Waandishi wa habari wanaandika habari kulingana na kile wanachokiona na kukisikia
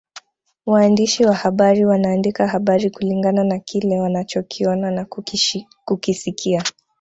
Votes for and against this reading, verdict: 0, 2, rejected